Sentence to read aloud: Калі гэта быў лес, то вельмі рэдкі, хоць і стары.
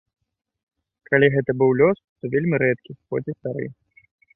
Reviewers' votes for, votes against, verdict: 1, 3, rejected